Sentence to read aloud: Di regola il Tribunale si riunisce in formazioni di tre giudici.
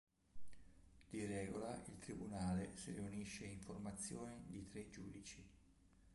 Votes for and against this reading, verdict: 1, 2, rejected